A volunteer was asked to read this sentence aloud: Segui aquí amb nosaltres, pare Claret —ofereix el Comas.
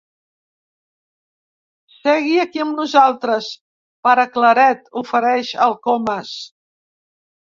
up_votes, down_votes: 4, 1